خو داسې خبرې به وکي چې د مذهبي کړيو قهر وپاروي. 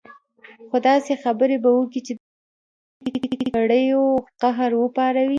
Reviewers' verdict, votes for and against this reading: rejected, 1, 2